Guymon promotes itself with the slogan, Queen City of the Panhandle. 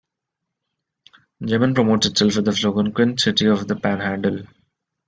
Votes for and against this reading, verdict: 0, 2, rejected